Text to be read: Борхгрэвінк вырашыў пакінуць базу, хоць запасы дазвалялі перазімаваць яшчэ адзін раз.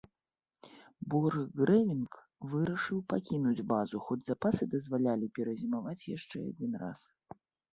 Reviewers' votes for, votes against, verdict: 2, 0, accepted